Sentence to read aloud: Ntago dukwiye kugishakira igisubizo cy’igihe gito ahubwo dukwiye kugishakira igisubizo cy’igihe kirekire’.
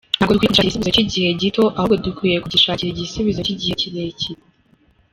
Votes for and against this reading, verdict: 0, 2, rejected